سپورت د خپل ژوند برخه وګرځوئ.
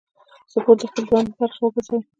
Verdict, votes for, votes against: rejected, 1, 2